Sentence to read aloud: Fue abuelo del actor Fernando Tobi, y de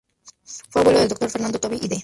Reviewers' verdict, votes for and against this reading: rejected, 0, 4